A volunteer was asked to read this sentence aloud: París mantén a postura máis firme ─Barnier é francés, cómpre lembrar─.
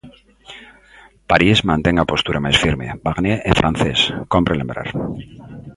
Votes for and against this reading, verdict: 2, 0, accepted